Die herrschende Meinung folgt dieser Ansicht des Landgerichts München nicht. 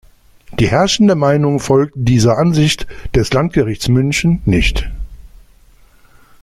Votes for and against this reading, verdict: 2, 0, accepted